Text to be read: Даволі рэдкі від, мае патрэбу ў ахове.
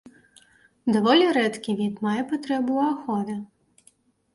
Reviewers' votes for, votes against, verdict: 2, 0, accepted